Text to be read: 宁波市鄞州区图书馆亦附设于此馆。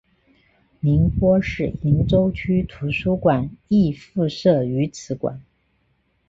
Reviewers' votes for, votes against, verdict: 7, 0, accepted